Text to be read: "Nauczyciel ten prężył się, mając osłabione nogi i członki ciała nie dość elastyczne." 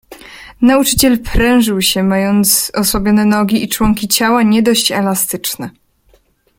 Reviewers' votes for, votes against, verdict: 0, 2, rejected